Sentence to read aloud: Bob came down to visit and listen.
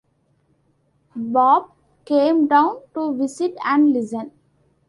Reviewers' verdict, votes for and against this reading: accepted, 3, 1